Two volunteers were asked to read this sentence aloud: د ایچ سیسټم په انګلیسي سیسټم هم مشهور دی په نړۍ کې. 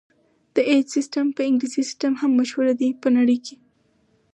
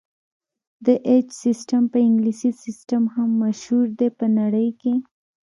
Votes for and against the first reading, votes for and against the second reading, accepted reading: 0, 4, 3, 0, second